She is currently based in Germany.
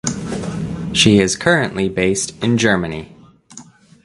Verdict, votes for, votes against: accepted, 2, 0